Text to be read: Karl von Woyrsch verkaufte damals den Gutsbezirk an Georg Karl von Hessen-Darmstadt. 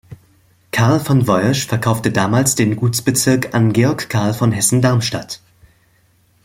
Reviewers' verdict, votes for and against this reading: accepted, 2, 0